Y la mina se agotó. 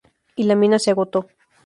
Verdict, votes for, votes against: accepted, 2, 0